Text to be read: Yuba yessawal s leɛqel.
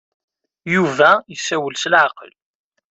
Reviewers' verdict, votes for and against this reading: accepted, 2, 1